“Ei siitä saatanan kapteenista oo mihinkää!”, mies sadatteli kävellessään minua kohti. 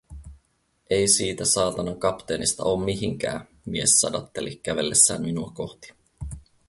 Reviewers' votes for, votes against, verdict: 2, 2, rejected